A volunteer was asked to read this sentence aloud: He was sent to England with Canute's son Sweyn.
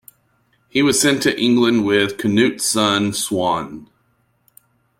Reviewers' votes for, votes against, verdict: 2, 0, accepted